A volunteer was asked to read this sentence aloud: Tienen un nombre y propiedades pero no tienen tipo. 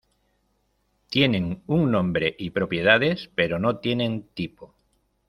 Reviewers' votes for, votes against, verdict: 2, 0, accepted